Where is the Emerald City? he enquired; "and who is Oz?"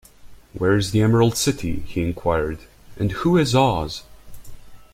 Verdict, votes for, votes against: accepted, 2, 0